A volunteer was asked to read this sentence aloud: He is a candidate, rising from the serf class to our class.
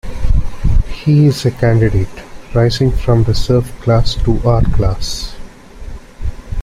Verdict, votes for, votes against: accepted, 2, 0